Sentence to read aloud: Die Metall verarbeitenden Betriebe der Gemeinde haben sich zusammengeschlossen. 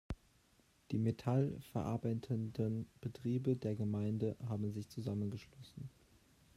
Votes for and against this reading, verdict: 2, 1, accepted